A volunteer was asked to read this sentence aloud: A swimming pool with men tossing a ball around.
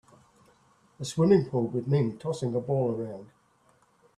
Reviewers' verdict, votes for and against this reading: accepted, 2, 0